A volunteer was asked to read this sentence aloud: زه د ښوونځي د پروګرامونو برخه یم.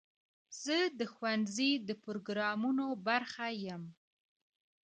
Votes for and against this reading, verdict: 0, 2, rejected